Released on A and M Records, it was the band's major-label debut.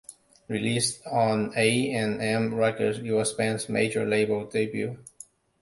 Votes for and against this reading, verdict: 1, 2, rejected